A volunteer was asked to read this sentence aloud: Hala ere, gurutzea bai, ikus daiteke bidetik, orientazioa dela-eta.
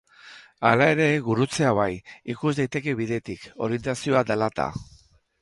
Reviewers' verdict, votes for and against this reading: rejected, 0, 2